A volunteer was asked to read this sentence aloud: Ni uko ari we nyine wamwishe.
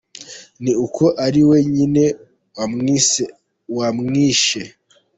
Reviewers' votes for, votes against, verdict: 0, 2, rejected